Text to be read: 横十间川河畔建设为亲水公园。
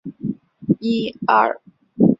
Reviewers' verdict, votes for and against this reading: rejected, 1, 4